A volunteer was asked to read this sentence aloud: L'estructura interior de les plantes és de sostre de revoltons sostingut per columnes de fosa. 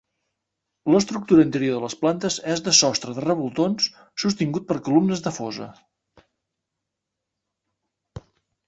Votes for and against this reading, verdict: 2, 0, accepted